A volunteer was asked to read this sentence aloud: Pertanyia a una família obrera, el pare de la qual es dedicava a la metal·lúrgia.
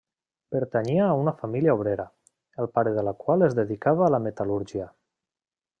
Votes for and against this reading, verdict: 2, 0, accepted